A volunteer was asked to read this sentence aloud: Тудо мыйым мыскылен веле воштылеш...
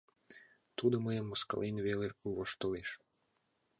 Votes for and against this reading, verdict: 2, 0, accepted